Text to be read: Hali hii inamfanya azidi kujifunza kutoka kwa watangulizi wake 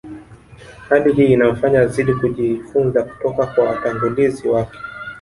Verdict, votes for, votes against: rejected, 1, 3